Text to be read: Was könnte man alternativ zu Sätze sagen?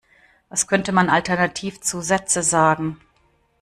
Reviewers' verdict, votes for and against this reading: accepted, 2, 0